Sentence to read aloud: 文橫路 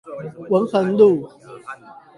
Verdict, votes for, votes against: accepted, 8, 4